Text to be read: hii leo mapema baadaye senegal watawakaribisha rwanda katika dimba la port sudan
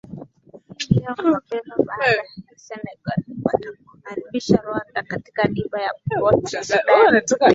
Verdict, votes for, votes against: rejected, 0, 2